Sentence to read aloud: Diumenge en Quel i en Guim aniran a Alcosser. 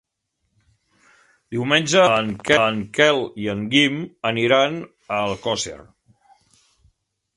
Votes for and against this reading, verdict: 0, 3, rejected